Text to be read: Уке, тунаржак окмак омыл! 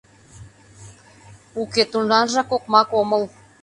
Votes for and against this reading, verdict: 2, 0, accepted